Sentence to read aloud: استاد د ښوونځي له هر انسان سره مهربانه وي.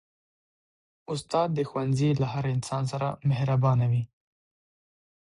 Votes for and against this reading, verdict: 6, 0, accepted